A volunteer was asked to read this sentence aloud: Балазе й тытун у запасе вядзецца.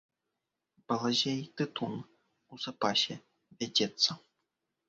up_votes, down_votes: 2, 0